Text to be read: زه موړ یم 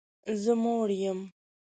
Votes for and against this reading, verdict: 2, 0, accepted